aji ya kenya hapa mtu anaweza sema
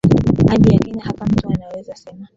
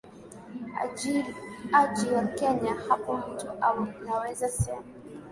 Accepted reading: first